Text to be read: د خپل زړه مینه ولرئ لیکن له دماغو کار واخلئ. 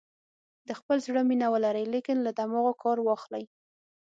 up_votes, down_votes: 6, 0